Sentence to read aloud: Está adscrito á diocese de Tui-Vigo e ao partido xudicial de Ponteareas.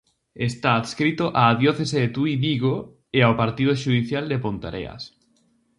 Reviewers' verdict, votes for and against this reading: rejected, 0, 2